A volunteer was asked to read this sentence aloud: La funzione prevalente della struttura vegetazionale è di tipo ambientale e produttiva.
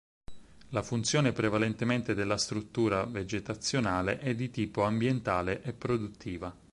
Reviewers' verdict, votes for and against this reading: rejected, 2, 4